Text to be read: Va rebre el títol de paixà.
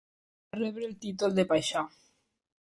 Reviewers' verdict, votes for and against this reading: rejected, 2, 3